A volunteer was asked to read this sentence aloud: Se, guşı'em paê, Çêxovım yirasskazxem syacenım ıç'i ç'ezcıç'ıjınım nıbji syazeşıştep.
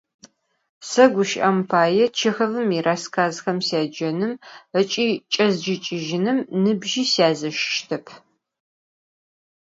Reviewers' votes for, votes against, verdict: 4, 0, accepted